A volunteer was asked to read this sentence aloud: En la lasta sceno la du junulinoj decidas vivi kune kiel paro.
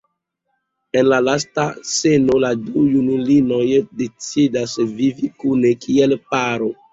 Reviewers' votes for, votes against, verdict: 1, 2, rejected